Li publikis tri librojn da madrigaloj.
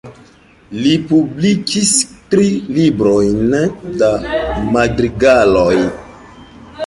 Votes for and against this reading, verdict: 3, 0, accepted